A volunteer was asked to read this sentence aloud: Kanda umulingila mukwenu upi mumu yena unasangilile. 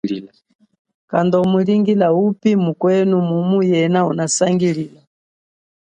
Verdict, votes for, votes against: accepted, 2, 1